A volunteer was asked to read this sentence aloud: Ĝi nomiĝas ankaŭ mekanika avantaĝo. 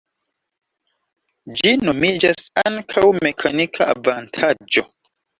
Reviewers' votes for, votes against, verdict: 1, 2, rejected